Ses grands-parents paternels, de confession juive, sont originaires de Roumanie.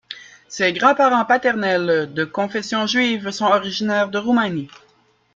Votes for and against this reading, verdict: 2, 0, accepted